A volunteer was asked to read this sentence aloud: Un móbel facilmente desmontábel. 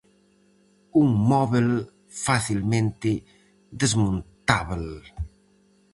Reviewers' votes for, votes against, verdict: 4, 0, accepted